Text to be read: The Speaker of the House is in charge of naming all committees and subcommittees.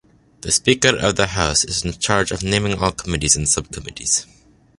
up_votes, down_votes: 2, 0